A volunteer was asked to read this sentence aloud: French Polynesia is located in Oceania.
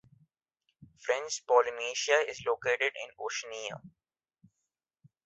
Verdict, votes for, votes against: accepted, 2, 0